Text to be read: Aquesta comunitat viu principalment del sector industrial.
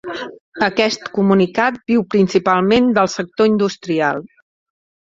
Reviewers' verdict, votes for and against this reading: rejected, 1, 2